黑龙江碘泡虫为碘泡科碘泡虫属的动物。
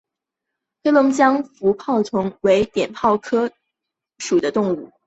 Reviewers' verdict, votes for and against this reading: rejected, 0, 2